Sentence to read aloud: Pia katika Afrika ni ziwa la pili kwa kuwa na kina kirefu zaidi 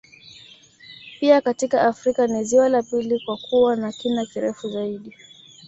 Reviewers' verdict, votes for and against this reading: rejected, 1, 2